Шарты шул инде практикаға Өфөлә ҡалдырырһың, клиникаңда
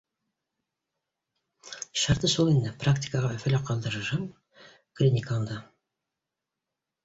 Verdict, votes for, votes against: accepted, 3, 2